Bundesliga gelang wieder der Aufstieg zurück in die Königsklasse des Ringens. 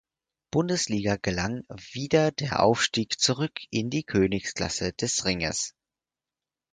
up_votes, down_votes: 0, 4